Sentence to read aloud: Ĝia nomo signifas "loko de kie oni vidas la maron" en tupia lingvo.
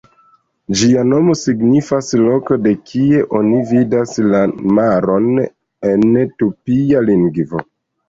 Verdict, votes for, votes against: accepted, 2, 0